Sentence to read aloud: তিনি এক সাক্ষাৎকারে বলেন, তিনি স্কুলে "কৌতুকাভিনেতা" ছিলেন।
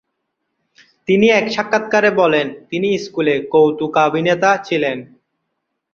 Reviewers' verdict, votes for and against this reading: accepted, 2, 0